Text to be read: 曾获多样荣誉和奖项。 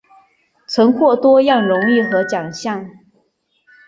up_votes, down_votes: 2, 0